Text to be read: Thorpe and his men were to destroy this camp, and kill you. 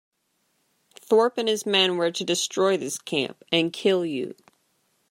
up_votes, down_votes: 2, 0